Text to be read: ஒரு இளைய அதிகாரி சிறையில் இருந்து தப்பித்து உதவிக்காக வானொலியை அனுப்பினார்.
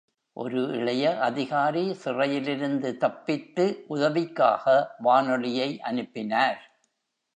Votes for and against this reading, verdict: 2, 0, accepted